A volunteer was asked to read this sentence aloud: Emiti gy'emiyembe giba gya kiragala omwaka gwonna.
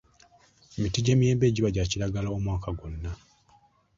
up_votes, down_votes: 2, 0